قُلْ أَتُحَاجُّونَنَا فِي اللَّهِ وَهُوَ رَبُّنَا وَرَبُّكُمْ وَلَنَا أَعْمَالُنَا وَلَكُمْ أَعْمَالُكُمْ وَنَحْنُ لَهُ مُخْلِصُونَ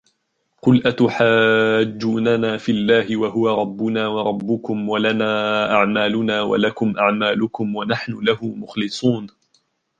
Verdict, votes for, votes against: accepted, 3, 0